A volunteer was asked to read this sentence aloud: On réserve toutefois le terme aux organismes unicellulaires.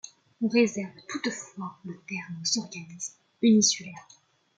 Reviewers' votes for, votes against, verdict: 1, 2, rejected